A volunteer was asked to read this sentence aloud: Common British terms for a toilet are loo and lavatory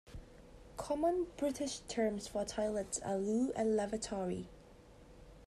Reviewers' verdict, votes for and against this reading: accepted, 2, 0